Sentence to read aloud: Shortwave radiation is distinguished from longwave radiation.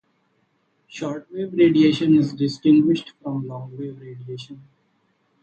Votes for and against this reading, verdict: 0, 2, rejected